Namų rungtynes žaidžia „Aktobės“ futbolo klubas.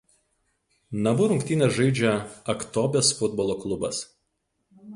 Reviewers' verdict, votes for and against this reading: rejected, 2, 2